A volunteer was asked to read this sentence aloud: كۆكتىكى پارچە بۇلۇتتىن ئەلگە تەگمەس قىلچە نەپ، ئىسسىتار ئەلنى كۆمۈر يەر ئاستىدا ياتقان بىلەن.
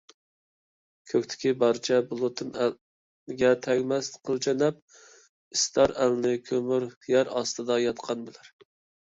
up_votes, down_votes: 0, 2